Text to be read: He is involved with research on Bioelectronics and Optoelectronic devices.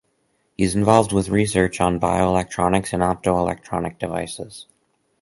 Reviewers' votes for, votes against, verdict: 6, 2, accepted